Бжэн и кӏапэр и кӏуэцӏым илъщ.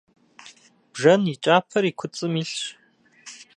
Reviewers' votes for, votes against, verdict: 0, 2, rejected